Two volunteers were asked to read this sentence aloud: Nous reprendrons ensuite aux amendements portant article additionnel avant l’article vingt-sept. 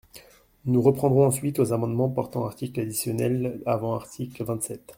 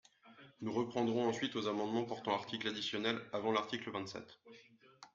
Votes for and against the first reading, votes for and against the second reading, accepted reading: 0, 2, 2, 0, second